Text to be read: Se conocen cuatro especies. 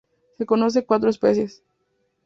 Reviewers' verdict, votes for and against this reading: rejected, 0, 2